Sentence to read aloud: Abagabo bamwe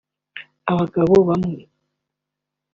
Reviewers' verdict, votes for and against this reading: accepted, 2, 1